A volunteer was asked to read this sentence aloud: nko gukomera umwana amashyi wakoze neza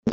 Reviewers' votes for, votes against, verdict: 0, 2, rejected